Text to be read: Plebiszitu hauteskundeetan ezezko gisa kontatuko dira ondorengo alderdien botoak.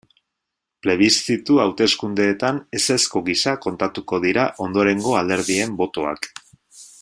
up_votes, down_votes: 2, 0